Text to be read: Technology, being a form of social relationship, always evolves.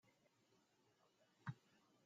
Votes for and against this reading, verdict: 0, 2, rejected